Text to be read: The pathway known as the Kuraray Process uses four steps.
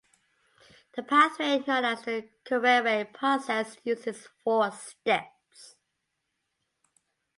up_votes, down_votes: 2, 0